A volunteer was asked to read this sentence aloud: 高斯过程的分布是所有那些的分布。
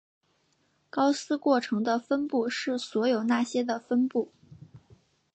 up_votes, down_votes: 3, 0